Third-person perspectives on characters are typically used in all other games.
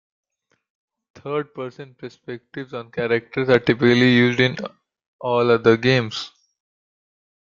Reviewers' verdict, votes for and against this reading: accepted, 2, 0